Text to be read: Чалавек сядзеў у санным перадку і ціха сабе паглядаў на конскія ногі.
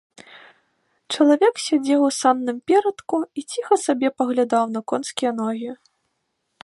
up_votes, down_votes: 1, 3